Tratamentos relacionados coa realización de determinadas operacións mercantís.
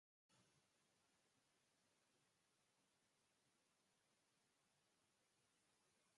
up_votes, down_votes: 2, 4